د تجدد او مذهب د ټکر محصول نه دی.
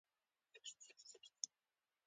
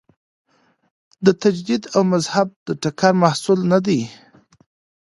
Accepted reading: second